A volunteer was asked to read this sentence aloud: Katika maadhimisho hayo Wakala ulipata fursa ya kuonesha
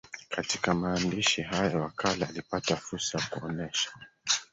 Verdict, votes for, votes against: rejected, 0, 3